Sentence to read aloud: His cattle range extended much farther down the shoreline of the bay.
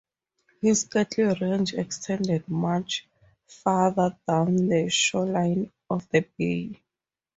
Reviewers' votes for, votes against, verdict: 6, 0, accepted